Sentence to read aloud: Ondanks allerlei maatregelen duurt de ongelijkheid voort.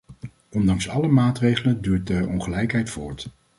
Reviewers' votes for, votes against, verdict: 0, 2, rejected